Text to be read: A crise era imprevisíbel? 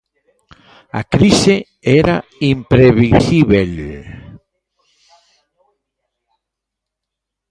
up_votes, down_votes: 0, 2